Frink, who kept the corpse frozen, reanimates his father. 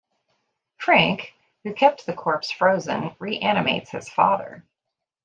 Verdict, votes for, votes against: accepted, 2, 0